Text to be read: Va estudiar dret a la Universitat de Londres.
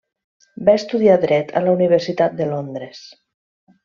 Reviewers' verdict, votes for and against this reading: accepted, 3, 0